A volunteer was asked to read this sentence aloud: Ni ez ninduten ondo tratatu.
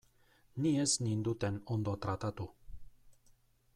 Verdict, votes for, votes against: accepted, 2, 0